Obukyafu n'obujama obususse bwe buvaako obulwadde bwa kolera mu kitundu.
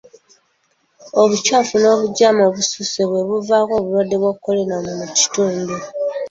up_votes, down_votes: 0, 2